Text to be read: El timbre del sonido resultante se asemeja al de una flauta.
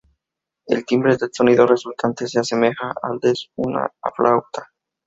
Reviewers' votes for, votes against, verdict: 0, 2, rejected